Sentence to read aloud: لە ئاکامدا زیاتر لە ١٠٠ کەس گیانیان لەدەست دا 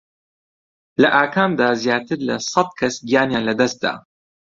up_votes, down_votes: 0, 2